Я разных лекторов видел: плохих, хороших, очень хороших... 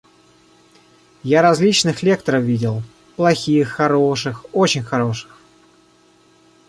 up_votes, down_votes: 1, 2